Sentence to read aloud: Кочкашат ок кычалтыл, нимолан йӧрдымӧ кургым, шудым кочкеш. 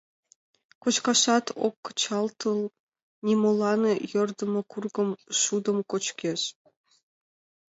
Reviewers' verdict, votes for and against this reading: accepted, 2, 0